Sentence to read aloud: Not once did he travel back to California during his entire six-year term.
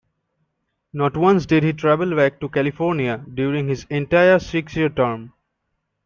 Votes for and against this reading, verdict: 2, 0, accepted